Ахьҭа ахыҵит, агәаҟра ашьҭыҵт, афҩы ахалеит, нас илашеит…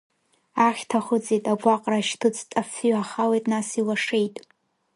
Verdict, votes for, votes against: rejected, 1, 2